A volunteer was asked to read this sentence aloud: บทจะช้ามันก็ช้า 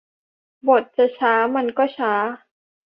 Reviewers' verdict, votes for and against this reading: accepted, 3, 0